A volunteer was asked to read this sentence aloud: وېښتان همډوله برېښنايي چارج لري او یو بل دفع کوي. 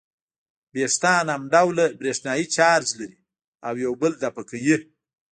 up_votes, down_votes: 1, 2